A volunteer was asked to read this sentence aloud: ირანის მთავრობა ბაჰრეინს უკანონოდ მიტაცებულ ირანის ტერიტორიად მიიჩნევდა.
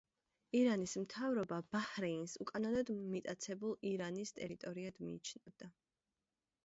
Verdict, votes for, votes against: rejected, 0, 2